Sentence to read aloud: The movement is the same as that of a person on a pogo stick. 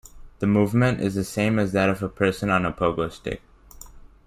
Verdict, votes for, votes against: rejected, 0, 2